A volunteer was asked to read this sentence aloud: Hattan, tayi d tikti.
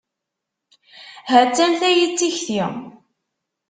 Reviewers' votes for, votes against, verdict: 2, 0, accepted